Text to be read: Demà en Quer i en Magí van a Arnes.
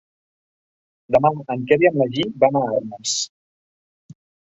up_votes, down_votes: 0, 2